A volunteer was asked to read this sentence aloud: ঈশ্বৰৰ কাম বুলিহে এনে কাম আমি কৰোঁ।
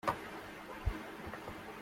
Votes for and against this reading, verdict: 0, 2, rejected